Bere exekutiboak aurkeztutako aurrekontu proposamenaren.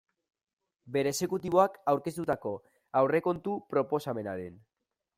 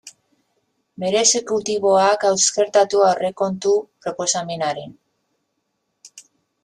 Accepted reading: first